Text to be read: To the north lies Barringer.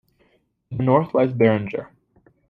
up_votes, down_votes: 1, 2